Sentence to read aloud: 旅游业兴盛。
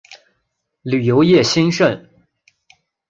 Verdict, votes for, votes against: accepted, 3, 1